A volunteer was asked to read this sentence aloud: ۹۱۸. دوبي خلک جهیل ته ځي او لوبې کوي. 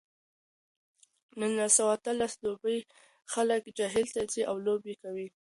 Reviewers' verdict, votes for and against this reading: rejected, 0, 2